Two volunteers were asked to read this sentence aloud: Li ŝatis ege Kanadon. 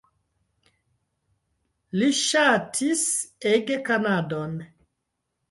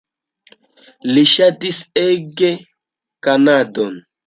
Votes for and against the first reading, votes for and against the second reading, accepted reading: 1, 2, 2, 0, second